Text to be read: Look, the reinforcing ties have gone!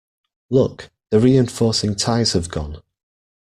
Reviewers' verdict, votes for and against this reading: accepted, 2, 0